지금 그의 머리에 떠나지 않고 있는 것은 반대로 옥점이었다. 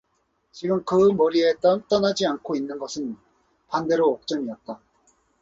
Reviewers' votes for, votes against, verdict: 2, 0, accepted